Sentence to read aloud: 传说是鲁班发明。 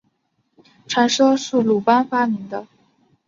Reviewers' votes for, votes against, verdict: 1, 2, rejected